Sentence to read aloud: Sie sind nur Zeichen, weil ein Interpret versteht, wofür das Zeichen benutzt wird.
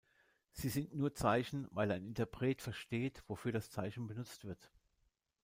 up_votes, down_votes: 0, 2